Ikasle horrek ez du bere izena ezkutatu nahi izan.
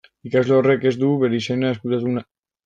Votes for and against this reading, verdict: 0, 2, rejected